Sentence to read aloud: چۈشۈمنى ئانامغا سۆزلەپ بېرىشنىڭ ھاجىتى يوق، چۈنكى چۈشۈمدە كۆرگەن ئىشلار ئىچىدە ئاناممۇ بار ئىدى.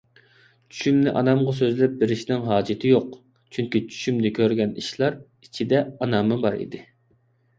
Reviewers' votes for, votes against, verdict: 2, 0, accepted